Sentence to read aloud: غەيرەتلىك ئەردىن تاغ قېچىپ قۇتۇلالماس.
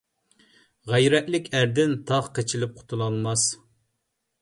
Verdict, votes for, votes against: rejected, 0, 2